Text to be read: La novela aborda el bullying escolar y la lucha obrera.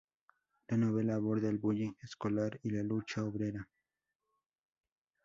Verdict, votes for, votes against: rejected, 0, 2